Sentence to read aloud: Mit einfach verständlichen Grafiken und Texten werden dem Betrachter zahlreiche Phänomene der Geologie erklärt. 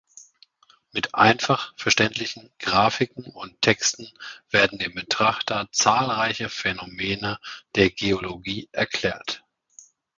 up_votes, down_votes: 2, 0